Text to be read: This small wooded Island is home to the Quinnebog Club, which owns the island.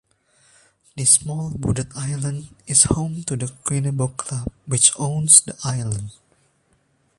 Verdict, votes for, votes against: accepted, 3, 0